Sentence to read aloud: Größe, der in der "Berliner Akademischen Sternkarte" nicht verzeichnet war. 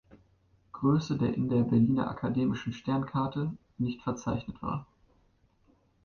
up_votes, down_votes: 2, 0